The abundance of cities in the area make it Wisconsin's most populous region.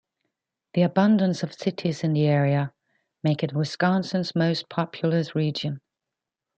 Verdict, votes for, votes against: accepted, 2, 1